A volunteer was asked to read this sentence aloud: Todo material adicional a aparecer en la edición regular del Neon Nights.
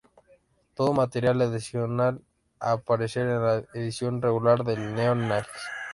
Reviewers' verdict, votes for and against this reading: rejected, 0, 2